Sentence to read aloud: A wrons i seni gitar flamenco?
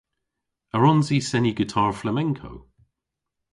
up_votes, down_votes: 2, 0